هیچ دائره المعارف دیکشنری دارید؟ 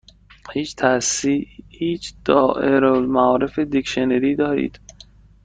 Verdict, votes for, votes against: rejected, 0, 2